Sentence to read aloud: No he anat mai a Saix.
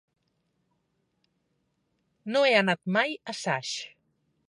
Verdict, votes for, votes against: accepted, 3, 0